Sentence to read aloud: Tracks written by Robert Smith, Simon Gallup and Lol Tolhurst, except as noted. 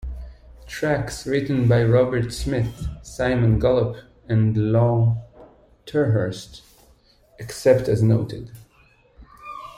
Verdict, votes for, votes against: rejected, 1, 2